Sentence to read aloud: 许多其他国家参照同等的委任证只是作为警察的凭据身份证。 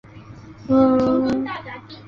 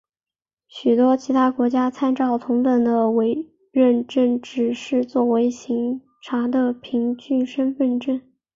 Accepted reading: second